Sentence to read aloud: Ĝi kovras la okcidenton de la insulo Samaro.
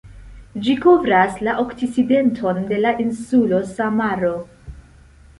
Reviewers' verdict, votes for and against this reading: accepted, 2, 0